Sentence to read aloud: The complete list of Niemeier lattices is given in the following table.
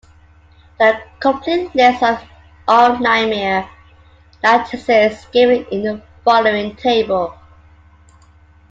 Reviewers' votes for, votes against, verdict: 0, 2, rejected